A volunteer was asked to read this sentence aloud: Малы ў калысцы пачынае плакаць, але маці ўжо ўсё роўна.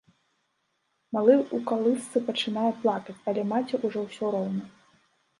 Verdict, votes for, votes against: rejected, 1, 2